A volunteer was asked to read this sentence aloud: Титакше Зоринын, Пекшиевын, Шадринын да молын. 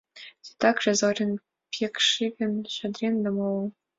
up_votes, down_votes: 2, 1